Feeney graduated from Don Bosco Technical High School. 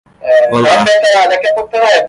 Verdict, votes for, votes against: rejected, 0, 2